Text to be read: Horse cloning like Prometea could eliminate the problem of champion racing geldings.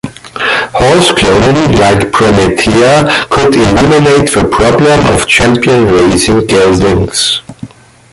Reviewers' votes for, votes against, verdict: 2, 1, accepted